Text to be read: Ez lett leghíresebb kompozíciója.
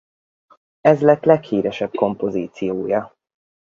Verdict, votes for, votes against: rejected, 2, 4